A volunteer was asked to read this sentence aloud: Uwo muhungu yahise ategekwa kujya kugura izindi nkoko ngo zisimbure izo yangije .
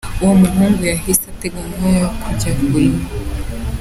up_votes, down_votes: 0, 2